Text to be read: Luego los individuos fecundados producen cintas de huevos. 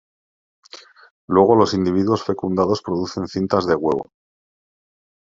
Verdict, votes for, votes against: rejected, 0, 2